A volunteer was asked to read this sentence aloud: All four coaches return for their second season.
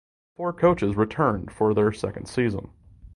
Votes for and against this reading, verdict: 0, 2, rejected